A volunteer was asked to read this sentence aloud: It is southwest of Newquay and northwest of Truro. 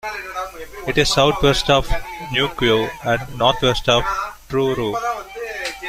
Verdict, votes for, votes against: rejected, 0, 2